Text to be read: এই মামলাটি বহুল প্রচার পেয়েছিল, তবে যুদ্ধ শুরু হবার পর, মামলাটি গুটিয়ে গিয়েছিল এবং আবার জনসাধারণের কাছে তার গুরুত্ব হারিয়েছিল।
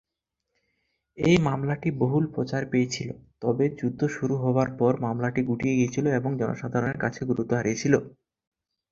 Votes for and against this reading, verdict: 24, 16, accepted